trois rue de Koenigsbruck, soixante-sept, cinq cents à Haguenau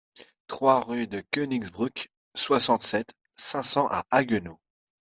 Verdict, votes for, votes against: accepted, 2, 0